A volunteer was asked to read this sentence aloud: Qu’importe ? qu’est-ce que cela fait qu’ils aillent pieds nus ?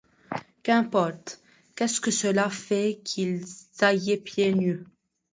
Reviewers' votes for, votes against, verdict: 0, 2, rejected